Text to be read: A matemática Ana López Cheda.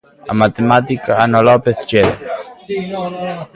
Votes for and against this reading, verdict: 1, 3, rejected